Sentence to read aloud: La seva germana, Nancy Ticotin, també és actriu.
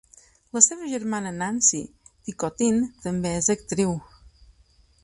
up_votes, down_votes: 4, 0